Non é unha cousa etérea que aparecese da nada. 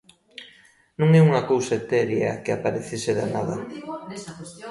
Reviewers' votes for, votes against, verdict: 2, 0, accepted